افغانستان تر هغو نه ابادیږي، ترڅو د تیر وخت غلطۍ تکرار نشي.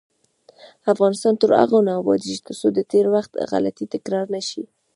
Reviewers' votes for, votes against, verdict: 1, 2, rejected